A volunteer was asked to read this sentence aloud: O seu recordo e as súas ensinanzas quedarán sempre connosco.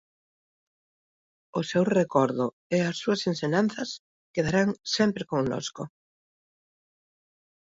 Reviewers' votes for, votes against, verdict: 2, 1, accepted